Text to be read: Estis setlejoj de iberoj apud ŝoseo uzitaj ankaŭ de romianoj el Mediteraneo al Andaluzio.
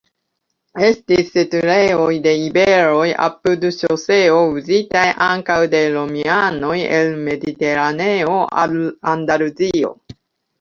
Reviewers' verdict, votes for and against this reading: rejected, 0, 2